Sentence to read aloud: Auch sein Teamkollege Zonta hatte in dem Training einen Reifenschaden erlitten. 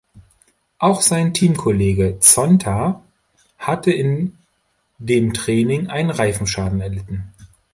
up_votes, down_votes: 2, 0